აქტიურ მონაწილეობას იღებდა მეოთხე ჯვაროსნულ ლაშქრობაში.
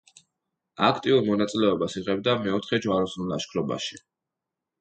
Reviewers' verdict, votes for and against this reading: accepted, 2, 0